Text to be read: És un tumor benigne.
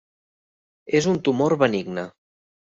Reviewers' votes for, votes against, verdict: 3, 0, accepted